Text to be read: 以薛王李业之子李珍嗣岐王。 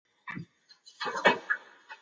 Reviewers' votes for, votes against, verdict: 0, 2, rejected